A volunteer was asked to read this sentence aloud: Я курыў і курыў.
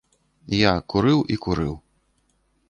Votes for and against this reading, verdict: 2, 0, accepted